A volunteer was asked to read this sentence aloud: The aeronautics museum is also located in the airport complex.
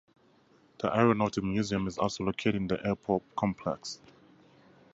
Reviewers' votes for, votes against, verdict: 0, 2, rejected